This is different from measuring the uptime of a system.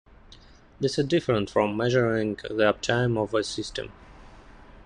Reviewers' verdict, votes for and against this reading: accepted, 2, 0